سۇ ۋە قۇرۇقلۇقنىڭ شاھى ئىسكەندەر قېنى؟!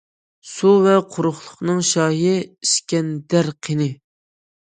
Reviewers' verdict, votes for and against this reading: accepted, 2, 0